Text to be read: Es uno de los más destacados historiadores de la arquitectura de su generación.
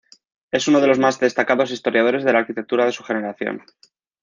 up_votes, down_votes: 2, 0